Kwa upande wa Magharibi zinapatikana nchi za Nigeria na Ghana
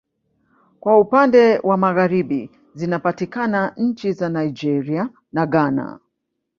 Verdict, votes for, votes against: rejected, 0, 2